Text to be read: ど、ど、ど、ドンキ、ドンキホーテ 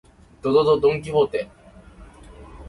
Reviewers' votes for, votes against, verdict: 0, 2, rejected